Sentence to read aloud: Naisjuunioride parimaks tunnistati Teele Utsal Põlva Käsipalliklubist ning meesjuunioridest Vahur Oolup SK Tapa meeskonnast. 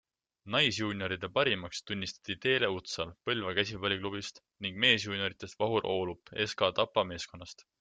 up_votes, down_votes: 2, 1